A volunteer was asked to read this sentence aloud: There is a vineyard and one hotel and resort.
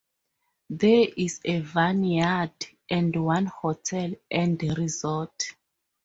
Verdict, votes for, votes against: rejected, 2, 2